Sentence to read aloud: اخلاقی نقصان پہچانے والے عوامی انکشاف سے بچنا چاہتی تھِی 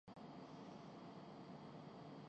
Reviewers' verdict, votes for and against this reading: rejected, 0, 3